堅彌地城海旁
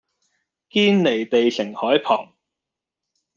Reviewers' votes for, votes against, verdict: 1, 2, rejected